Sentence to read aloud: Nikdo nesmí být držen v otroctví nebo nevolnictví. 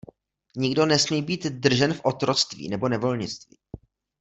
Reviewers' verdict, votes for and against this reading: accepted, 2, 0